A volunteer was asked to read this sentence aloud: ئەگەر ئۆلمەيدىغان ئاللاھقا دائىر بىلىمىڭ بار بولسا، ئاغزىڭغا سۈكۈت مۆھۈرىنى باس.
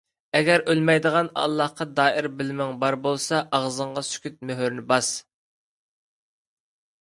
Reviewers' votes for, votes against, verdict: 2, 0, accepted